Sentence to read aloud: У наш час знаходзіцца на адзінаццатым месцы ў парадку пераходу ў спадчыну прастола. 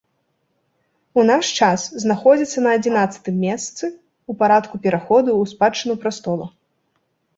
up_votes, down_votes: 2, 0